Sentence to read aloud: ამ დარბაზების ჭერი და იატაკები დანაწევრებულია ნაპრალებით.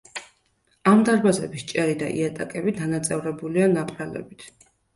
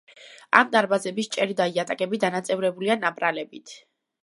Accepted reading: first